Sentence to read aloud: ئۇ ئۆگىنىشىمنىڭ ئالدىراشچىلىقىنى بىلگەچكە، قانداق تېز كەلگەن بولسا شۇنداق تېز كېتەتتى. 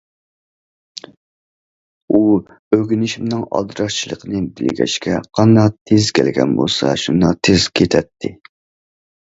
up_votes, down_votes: 1, 2